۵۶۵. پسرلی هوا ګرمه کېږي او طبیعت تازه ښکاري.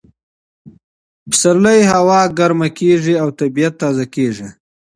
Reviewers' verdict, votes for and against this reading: rejected, 0, 2